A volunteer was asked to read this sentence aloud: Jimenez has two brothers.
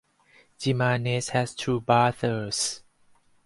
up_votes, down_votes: 0, 4